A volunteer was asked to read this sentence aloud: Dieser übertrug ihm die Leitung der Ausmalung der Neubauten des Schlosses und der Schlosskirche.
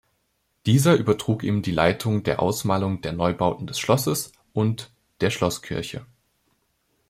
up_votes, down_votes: 2, 0